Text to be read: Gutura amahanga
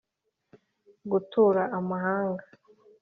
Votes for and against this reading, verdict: 5, 0, accepted